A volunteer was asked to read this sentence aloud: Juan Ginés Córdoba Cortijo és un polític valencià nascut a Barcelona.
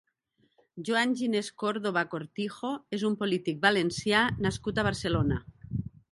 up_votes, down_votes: 0, 2